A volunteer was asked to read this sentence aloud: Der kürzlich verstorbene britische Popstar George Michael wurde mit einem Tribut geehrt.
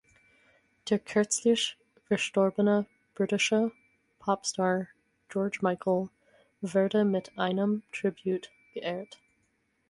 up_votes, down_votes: 0, 4